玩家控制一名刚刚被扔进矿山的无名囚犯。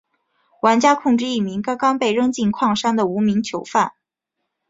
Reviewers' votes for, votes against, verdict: 3, 0, accepted